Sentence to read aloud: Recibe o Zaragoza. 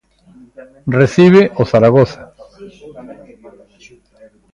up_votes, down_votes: 2, 1